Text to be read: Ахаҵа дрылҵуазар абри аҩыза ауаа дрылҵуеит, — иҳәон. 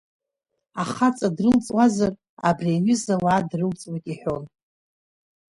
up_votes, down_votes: 2, 0